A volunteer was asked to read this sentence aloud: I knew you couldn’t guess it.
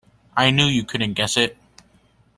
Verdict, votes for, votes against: accepted, 2, 1